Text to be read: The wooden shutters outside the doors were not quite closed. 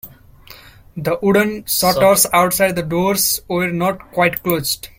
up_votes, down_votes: 0, 2